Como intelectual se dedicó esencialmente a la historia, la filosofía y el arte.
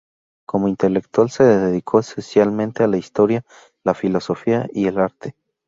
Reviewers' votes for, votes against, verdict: 2, 0, accepted